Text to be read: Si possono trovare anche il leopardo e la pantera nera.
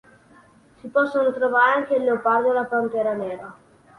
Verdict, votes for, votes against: accepted, 2, 0